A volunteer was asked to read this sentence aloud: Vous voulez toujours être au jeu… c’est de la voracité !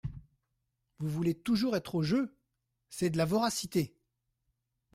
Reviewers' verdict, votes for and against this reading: accepted, 2, 0